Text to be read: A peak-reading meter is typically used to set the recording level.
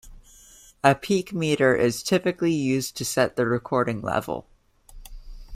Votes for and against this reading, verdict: 0, 2, rejected